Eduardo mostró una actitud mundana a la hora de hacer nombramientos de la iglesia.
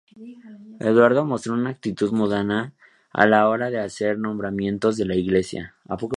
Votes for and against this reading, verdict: 2, 2, rejected